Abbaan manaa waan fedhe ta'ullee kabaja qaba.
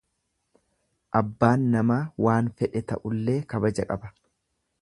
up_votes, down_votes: 1, 2